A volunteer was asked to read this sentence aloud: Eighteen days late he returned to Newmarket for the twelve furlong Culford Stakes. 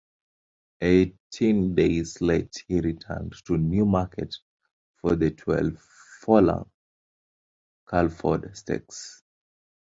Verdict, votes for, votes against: accepted, 2, 1